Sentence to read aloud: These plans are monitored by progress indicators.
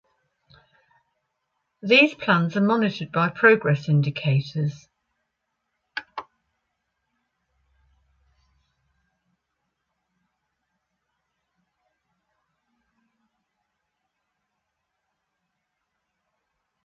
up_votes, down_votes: 2, 0